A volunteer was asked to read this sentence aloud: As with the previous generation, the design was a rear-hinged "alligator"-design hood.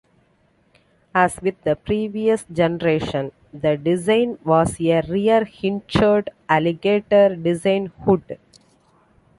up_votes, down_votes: 2, 1